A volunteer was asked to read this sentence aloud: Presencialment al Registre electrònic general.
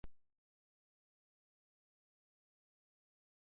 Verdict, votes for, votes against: rejected, 0, 2